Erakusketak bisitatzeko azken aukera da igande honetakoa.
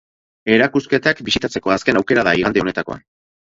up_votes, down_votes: 4, 0